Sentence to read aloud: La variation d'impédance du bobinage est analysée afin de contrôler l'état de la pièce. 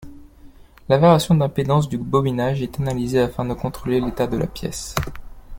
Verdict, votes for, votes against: rejected, 1, 2